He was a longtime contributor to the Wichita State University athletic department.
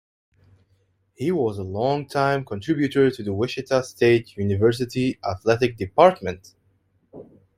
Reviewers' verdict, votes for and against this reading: accepted, 2, 0